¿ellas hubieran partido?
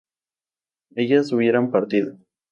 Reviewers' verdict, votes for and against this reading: accepted, 2, 0